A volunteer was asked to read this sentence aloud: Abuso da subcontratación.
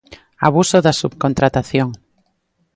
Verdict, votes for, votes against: accepted, 2, 0